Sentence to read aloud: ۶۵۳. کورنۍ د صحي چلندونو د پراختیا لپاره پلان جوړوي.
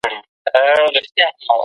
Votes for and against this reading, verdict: 0, 2, rejected